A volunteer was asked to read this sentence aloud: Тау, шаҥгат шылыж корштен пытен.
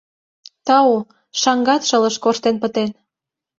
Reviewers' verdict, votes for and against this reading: accepted, 2, 0